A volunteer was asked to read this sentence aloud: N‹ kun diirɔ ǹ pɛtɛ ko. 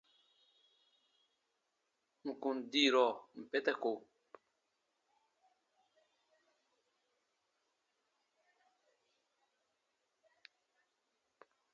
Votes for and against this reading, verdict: 2, 0, accepted